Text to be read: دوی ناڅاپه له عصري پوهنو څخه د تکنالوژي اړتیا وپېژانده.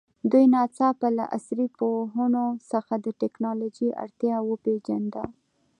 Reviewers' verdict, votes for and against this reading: accepted, 2, 0